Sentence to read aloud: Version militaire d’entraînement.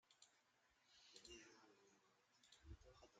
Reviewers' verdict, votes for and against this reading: rejected, 0, 2